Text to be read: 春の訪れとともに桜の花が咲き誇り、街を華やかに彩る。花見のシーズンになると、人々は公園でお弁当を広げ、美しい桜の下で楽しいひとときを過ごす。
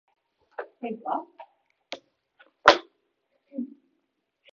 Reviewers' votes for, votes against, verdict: 0, 7, rejected